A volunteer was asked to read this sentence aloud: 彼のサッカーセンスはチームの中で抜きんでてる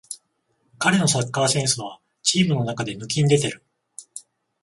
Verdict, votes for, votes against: accepted, 14, 0